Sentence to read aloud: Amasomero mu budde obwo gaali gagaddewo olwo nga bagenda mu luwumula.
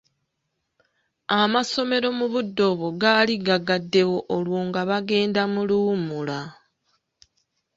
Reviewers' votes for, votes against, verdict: 2, 0, accepted